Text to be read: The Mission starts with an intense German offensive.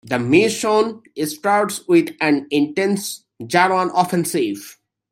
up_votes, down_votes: 0, 3